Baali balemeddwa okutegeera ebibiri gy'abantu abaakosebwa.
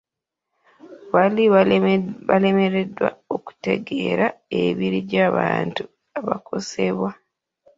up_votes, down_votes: 1, 2